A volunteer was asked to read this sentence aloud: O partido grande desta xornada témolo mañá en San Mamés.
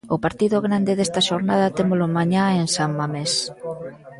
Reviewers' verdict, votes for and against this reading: accepted, 2, 0